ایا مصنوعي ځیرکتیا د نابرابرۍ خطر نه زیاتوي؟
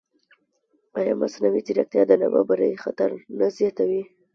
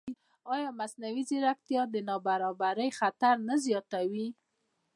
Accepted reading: second